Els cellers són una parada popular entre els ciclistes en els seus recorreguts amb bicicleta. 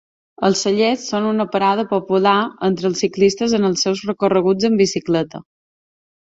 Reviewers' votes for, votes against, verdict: 2, 0, accepted